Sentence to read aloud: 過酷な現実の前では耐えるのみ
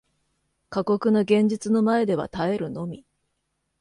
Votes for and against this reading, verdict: 2, 0, accepted